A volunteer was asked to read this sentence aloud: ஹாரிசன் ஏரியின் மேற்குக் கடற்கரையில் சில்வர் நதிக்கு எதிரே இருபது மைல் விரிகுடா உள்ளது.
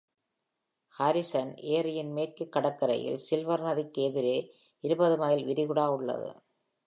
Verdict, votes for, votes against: accepted, 2, 0